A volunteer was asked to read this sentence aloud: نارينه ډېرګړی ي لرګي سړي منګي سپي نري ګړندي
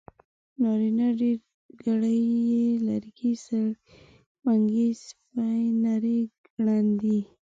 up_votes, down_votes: 1, 2